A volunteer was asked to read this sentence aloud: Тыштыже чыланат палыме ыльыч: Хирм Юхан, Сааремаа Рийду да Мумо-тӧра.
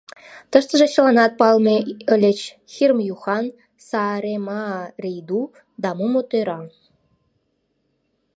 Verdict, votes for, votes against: accepted, 2, 0